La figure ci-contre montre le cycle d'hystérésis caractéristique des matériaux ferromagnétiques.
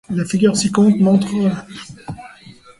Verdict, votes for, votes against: rejected, 1, 2